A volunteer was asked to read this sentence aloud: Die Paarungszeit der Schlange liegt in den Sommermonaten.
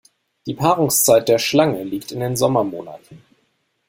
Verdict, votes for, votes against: accepted, 2, 0